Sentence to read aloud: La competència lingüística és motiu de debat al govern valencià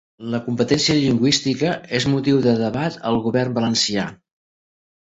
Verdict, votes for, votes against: rejected, 1, 2